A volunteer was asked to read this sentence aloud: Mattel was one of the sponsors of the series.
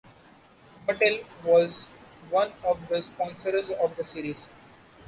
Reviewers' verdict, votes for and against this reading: accepted, 2, 1